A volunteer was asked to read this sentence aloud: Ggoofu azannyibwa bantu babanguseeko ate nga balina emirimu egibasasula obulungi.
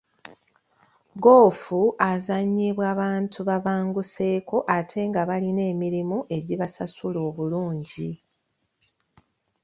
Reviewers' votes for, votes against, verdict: 2, 0, accepted